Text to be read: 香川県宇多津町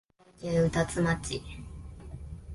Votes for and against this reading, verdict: 1, 2, rejected